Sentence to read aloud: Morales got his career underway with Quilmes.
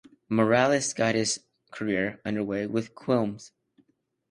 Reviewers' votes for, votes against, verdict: 0, 2, rejected